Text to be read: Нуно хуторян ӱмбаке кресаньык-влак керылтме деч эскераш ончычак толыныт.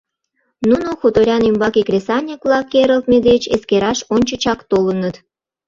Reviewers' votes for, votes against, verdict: 2, 0, accepted